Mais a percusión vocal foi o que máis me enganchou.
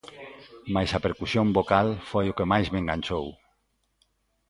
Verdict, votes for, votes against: accepted, 2, 0